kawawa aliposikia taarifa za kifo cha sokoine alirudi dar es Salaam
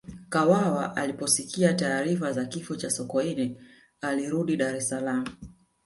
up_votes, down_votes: 2, 1